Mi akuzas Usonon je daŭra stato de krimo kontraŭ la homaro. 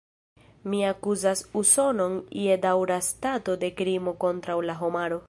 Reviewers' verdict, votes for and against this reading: rejected, 0, 2